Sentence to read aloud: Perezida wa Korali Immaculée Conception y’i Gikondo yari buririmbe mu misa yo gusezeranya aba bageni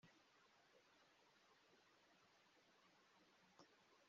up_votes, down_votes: 0, 2